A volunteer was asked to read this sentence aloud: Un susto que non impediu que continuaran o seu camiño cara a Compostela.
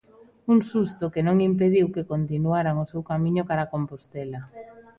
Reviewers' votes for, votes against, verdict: 2, 0, accepted